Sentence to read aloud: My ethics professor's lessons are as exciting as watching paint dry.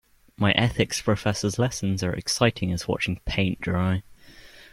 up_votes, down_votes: 2, 1